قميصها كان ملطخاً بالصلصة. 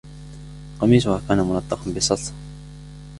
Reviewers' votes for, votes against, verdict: 0, 2, rejected